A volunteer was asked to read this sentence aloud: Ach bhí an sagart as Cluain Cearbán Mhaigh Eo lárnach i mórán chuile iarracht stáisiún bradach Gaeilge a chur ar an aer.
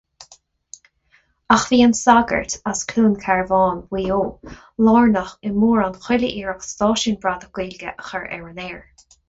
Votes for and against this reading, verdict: 0, 2, rejected